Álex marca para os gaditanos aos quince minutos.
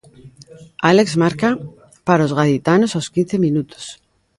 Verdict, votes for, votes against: accepted, 2, 0